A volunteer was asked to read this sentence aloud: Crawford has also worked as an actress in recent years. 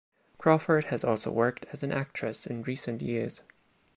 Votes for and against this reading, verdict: 2, 0, accepted